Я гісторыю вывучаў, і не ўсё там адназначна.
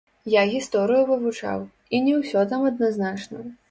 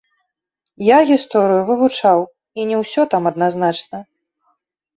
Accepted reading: second